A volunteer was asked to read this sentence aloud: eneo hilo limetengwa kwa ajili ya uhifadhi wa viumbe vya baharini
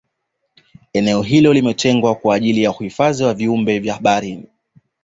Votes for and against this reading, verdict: 2, 1, accepted